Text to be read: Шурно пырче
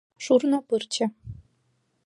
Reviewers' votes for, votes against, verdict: 2, 0, accepted